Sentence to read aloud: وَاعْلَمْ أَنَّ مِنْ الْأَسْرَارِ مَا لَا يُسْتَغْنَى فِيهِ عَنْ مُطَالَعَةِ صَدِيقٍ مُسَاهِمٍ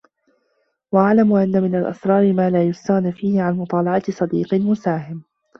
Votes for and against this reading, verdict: 2, 0, accepted